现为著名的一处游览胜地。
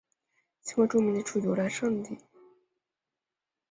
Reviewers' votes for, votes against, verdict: 0, 2, rejected